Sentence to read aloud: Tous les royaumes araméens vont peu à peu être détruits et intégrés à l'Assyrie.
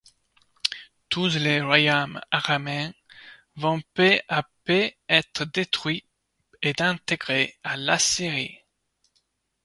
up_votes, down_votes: 0, 2